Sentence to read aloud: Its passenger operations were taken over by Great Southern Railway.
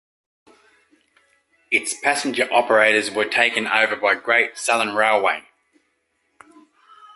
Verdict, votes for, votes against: rejected, 1, 2